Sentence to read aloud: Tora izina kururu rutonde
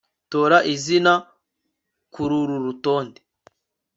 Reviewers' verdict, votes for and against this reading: accepted, 3, 0